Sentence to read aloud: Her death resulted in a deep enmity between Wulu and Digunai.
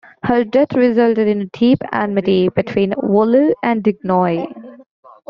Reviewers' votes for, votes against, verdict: 1, 2, rejected